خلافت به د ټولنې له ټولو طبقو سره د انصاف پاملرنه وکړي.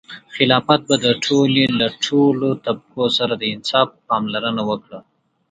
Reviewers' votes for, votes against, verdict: 1, 2, rejected